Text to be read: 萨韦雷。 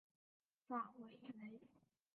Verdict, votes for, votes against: rejected, 1, 3